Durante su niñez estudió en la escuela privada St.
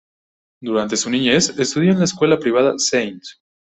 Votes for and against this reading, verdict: 2, 1, accepted